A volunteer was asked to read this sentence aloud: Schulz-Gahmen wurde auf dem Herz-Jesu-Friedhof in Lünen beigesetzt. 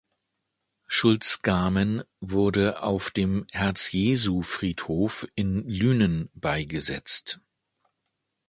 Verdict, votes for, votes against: accepted, 2, 0